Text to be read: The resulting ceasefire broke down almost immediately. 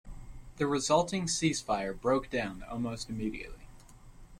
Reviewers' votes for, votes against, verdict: 2, 0, accepted